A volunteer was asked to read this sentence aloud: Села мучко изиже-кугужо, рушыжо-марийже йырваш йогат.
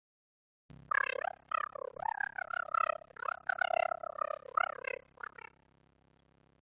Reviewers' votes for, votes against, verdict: 0, 2, rejected